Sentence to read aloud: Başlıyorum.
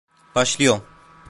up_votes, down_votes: 0, 2